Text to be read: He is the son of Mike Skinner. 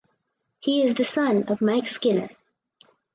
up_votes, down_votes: 4, 2